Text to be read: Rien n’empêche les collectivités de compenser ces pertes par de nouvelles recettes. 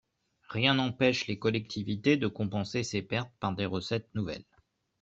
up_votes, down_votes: 1, 2